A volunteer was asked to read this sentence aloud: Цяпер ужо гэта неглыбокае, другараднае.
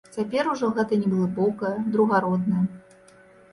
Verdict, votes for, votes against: rejected, 0, 2